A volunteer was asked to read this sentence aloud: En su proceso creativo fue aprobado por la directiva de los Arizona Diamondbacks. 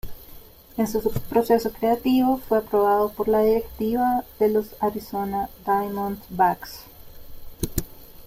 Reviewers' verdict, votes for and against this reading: accepted, 2, 0